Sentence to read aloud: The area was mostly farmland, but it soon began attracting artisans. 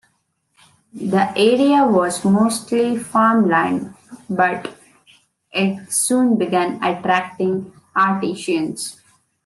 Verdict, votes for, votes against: rejected, 1, 2